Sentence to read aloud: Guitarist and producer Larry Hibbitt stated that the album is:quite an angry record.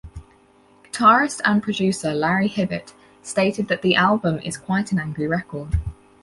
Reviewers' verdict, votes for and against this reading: accepted, 4, 0